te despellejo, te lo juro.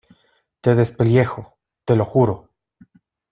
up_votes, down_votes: 2, 0